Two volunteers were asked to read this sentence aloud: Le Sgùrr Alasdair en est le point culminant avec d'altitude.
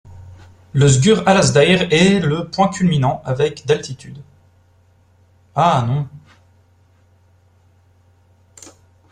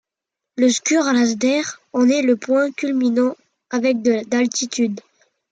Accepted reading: second